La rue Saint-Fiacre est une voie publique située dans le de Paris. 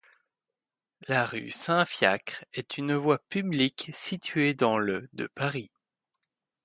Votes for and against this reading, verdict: 2, 0, accepted